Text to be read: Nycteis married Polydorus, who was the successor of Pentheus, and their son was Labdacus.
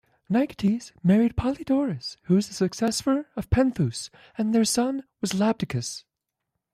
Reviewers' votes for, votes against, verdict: 1, 2, rejected